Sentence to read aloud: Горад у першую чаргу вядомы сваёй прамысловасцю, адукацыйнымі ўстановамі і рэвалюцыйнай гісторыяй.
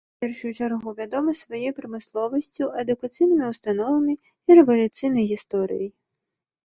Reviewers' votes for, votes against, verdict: 1, 2, rejected